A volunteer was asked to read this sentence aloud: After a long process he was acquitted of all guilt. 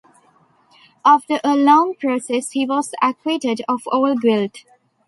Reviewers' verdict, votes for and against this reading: accepted, 2, 0